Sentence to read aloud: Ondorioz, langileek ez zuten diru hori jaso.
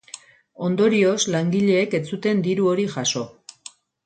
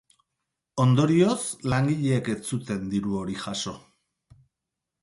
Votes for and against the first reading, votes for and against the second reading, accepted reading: 0, 2, 4, 0, second